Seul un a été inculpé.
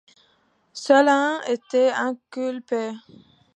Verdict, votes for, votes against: rejected, 0, 2